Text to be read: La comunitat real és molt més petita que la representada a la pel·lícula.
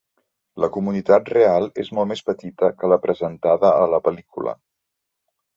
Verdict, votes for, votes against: rejected, 0, 2